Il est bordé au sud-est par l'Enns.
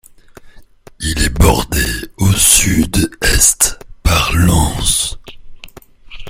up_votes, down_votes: 1, 2